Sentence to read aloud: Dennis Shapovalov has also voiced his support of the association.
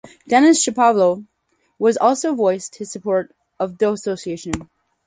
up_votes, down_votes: 2, 4